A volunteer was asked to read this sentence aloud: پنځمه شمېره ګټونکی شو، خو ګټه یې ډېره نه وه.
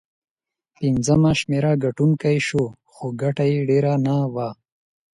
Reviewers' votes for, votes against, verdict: 6, 0, accepted